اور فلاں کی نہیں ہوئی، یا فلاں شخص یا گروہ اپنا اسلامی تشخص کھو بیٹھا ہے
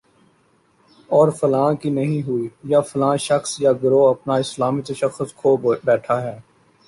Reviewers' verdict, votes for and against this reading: rejected, 0, 2